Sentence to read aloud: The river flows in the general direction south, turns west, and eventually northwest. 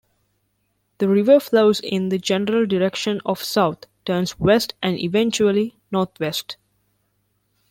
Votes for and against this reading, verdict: 2, 0, accepted